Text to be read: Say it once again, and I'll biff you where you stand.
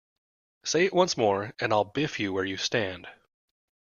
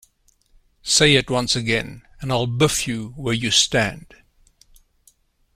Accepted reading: second